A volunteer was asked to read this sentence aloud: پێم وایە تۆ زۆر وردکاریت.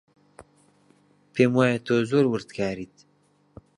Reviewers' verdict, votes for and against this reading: accepted, 2, 0